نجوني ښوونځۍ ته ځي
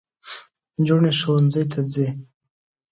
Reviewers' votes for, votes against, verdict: 2, 0, accepted